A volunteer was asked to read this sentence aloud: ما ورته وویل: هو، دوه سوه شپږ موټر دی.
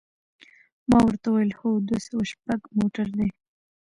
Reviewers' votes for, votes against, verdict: 1, 2, rejected